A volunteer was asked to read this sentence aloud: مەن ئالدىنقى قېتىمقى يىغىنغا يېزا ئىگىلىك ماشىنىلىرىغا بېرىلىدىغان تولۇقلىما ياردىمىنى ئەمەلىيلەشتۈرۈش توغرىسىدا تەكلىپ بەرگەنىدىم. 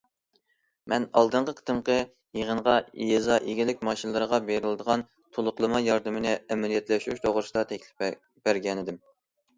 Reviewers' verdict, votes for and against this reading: rejected, 0, 2